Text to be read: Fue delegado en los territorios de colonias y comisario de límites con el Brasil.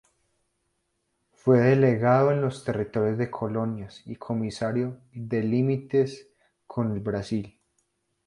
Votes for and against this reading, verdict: 2, 0, accepted